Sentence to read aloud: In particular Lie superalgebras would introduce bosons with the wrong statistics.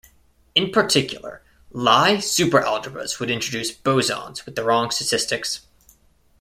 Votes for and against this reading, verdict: 2, 0, accepted